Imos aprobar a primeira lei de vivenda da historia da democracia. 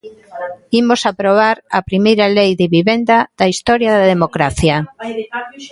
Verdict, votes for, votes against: rejected, 0, 2